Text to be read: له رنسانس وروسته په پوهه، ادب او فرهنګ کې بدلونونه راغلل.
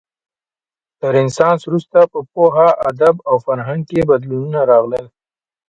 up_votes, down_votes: 2, 0